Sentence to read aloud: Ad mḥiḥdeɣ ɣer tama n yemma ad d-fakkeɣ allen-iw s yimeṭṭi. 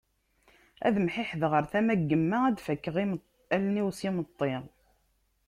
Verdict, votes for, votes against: rejected, 0, 2